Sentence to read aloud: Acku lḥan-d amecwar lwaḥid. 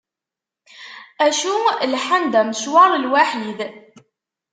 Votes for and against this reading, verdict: 0, 2, rejected